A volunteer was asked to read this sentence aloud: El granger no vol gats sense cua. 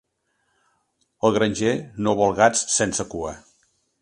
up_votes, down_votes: 2, 0